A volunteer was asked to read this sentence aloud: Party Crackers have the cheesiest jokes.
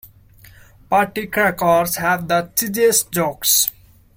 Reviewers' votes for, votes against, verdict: 1, 2, rejected